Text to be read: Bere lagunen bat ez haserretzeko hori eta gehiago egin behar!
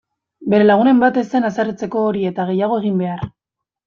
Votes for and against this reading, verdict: 0, 2, rejected